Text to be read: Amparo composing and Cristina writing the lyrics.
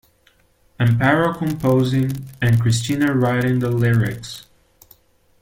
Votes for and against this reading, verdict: 2, 0, accepted